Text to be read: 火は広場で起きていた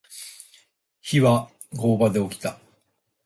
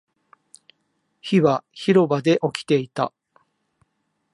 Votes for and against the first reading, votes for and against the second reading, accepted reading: 0, 4, 2, 0, second